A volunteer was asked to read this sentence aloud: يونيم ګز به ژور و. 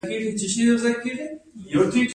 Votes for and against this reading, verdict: 0, 2, rejected